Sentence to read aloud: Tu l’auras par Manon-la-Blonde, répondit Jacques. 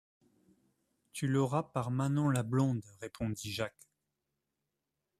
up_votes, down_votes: 3, 0